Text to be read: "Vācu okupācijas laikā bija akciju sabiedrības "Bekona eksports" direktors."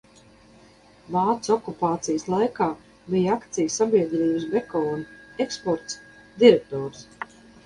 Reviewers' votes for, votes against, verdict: 0, 2, rejected